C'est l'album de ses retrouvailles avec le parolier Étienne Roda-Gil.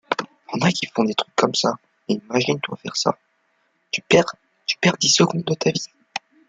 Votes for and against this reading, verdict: 0, 2, rejected